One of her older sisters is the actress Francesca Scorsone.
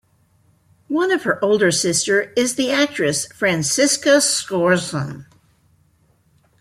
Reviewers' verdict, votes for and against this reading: rejected, 0, 2